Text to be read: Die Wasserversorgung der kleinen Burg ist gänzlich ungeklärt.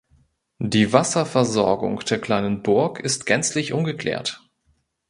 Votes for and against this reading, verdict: 2, 1, accepted